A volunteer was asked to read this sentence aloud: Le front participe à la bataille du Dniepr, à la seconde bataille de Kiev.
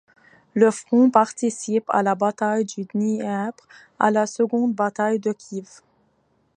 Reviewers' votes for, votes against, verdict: 2, 0, accepted